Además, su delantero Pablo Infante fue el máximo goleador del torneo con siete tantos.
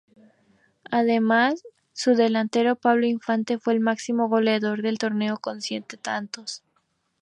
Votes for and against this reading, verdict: 2, 0, accepted